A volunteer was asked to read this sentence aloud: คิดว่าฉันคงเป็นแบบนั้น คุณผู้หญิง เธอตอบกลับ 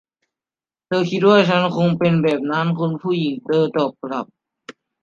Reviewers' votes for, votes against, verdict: 0, 2, rejected